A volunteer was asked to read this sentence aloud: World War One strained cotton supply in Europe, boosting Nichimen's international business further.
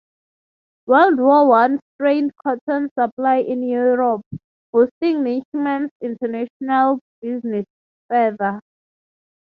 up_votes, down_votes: 3, 0